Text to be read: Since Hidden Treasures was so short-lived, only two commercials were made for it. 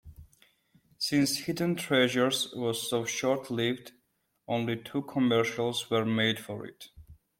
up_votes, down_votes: 1, 2